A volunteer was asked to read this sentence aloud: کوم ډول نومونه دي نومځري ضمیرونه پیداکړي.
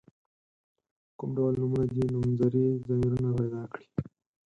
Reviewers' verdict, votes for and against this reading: rejected, 0, 4